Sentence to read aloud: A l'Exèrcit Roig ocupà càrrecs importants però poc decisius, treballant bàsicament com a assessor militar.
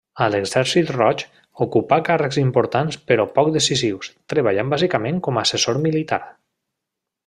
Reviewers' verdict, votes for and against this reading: accepted, 3, 0